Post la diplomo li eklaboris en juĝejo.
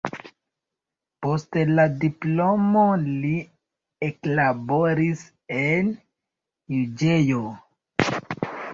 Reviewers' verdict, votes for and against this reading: rejected, 1, 2